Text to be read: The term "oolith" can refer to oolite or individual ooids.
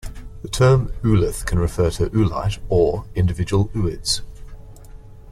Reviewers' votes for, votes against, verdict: 3, 1, accepted